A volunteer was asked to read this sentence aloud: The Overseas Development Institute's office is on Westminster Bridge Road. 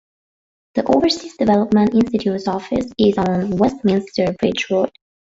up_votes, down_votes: 2, 1